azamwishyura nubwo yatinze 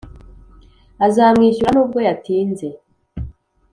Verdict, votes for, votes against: accepted, 3, 0